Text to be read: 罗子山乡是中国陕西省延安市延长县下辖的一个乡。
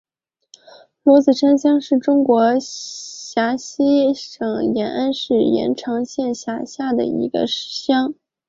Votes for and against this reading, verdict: 0, 2, rejected